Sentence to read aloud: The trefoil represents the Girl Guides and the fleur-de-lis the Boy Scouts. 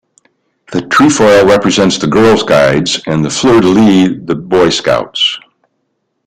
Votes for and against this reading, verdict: 2, 0, accepted